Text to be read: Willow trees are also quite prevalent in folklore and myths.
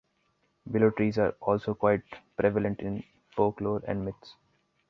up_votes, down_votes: 2, 0